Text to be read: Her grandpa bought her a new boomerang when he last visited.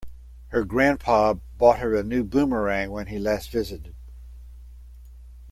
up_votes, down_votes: 2, 0